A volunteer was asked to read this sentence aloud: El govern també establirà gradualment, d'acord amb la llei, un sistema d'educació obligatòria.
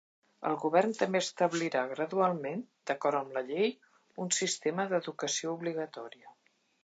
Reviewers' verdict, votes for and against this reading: accepted, 2, 0